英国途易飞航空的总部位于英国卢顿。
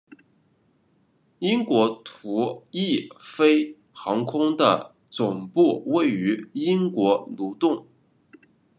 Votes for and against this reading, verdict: 2, 0, accepted